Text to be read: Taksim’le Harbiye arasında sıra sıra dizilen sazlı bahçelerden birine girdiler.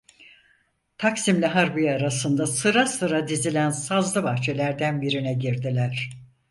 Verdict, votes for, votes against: accepted, 4, 0